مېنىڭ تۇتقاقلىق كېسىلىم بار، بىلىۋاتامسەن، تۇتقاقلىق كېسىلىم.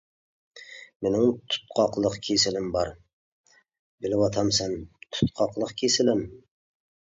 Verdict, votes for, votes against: accepted, 2, 0